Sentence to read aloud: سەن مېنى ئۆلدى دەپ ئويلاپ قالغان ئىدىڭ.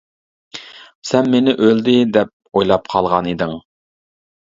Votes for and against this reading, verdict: 2, 0, accepted